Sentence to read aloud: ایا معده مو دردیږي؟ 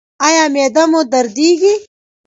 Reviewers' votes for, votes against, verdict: 2, 0, accepted